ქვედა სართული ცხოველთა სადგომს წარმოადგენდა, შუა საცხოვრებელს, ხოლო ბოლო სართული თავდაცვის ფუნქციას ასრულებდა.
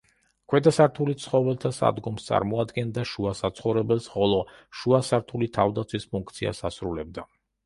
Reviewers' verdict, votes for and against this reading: rejected, 0, 2